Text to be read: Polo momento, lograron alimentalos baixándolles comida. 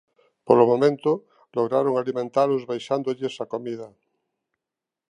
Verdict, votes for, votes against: rejected, 1, 2